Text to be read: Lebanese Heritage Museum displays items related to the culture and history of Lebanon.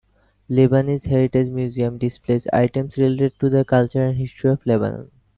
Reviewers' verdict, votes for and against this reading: rejected, 0, 2